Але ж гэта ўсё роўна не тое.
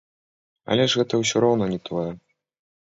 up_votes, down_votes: 1, 2